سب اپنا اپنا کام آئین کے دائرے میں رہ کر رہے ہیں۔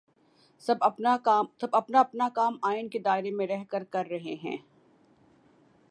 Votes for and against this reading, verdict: 2, 0, accepted